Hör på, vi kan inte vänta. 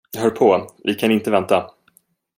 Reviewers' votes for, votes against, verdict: 2, 0, accepted